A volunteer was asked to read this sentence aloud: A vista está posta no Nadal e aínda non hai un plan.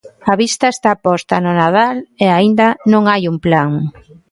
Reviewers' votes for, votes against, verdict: 0, 2, rejected